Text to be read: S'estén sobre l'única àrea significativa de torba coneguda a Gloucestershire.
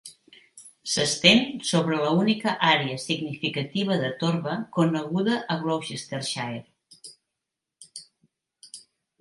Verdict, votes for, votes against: rejected, 1, 2